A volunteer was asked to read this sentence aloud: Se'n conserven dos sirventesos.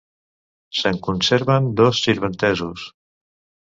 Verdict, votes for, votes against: accepted, 2, 0